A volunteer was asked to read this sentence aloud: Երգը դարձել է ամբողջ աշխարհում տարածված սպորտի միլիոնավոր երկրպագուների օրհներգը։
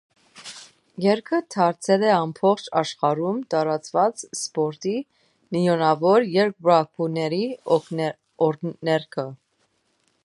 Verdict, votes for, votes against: rejected, 0, 2